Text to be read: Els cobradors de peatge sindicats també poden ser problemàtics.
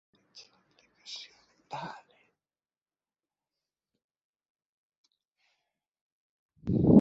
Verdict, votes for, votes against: rejected, 0, 2